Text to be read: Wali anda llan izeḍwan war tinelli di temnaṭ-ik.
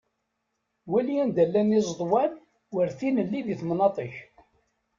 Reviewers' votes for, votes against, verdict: 2, 0, accepted